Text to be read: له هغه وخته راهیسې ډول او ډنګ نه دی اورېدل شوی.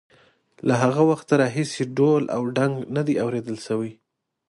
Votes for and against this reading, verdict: 2, 0, accepted